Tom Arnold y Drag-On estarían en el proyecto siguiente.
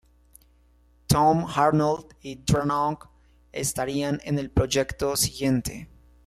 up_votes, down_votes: 1, 2